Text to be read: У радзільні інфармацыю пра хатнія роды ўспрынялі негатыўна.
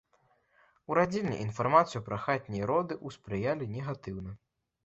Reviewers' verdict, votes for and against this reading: rejected, 1, 2